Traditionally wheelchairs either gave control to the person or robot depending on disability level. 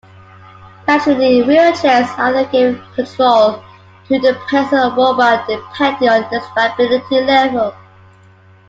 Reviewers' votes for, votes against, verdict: 0, 2, rejected